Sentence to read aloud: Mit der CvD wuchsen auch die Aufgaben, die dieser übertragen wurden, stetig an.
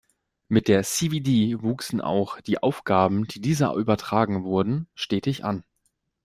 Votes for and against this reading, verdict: 2, 0, accepted